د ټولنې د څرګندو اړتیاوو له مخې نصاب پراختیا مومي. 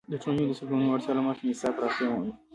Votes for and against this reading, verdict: 2, 0, accepted